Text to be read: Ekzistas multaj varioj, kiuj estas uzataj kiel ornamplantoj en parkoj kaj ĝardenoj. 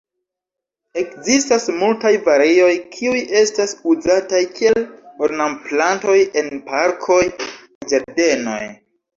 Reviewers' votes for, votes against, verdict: 1, 3, rejected